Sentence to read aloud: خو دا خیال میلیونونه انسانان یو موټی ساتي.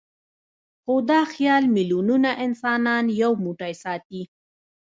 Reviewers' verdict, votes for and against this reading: rejected, 1, 2